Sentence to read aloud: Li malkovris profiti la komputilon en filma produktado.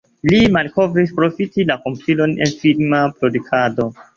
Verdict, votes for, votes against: accepted, 2, 0